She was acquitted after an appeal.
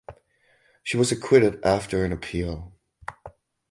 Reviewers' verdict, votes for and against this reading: accepted, 2, 0